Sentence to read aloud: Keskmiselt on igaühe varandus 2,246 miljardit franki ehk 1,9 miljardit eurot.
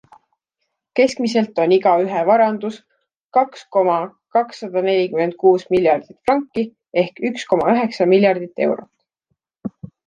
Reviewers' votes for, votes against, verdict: 0, 2, rejected